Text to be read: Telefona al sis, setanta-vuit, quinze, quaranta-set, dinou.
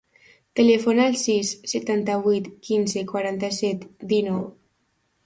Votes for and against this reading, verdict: 2, 0, accepted